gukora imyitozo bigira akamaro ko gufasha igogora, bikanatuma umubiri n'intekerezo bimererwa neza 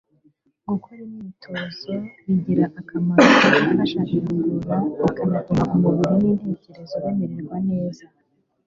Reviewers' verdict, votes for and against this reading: accepted, 2, 0